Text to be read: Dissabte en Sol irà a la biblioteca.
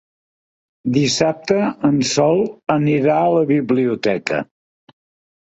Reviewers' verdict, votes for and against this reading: rejected, 1, 2